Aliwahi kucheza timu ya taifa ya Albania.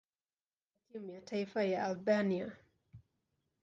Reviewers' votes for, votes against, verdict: 1, 2, rejected